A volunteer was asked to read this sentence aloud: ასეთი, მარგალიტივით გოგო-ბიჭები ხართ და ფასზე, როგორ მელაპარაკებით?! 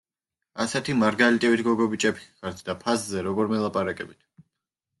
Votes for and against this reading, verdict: 1, 2, rejected